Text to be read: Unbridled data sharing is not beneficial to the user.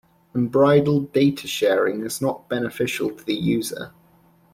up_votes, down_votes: 2, 0